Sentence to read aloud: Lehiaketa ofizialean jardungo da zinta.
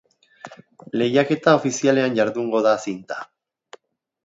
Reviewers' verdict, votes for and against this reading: accepted, 3, 0